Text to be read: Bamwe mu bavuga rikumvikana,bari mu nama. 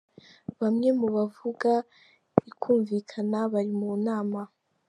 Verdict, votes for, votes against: accepted, 3, 1